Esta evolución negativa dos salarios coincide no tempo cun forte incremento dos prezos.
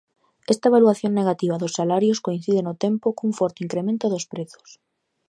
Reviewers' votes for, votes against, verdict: 0, 2, rejected